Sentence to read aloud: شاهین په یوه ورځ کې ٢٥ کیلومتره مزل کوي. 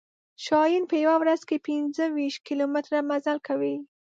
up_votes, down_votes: 0, 2